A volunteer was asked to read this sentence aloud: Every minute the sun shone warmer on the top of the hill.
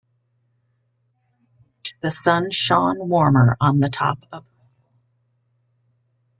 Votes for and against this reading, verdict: 0, 2, rejected